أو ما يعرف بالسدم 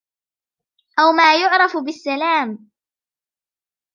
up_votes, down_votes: 1, 2